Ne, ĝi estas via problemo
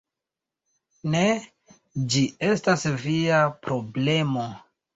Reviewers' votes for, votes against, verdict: 2, 1, accepted